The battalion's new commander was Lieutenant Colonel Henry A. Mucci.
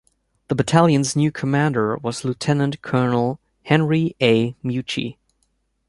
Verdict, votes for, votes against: accepted, 2, 0